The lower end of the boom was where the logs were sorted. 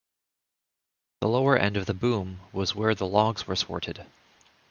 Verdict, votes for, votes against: accepted, 2, 0